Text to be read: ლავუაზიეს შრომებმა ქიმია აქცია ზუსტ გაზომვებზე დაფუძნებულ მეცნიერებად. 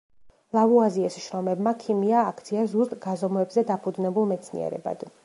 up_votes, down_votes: 1, 2